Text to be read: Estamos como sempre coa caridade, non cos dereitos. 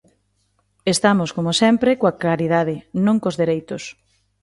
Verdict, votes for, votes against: accepted, 2, 1